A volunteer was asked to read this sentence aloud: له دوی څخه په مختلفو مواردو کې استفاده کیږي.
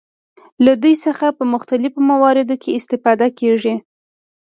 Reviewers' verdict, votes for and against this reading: accepted, 2, 0